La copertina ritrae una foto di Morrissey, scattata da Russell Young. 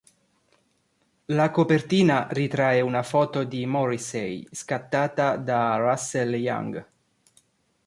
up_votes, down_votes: 2, 0